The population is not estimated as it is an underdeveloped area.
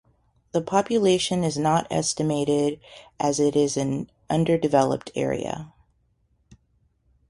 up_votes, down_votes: 0, 2